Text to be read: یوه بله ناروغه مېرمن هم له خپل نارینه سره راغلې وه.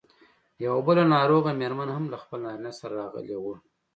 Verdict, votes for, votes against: accepted, 2, 0